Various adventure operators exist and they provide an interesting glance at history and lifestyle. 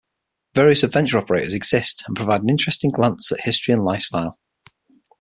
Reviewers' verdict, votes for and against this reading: rejected, 0, 6